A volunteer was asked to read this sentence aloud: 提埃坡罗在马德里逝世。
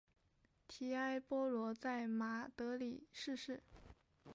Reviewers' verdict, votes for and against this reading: accepted, 7, 0